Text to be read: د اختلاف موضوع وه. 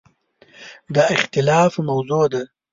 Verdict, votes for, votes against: rejected, 0, 2